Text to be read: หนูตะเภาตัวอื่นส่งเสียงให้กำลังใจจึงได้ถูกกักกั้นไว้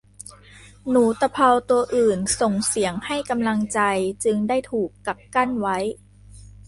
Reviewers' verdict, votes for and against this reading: accepted, 2, 0